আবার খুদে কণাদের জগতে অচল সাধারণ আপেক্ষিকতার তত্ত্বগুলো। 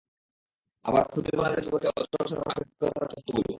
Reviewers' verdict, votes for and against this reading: rejected, 0, 2